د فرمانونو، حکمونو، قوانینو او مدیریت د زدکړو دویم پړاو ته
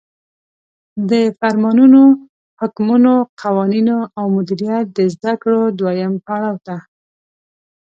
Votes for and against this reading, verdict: 1, 2, rejected